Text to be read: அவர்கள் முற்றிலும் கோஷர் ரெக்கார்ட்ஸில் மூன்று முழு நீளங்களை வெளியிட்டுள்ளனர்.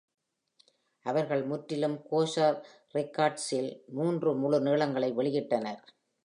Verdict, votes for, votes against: rejected, 1, 2